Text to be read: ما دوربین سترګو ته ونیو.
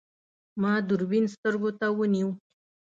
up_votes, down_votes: 2, 0